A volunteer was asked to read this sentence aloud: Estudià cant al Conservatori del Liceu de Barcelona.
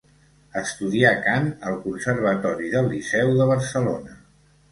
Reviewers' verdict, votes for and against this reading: accepted, 2, 0